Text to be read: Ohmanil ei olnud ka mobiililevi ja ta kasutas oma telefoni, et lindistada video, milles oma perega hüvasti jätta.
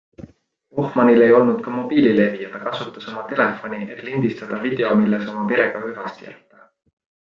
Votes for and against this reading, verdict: 3, 0, accepted